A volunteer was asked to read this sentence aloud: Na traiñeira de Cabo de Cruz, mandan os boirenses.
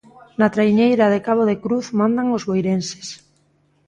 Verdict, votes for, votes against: rejected, 1, 2